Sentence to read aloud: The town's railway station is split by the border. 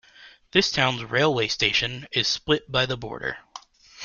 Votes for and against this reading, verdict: 1, 2, rejected